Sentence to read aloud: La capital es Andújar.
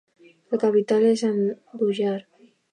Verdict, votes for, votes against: rejected, 0, 2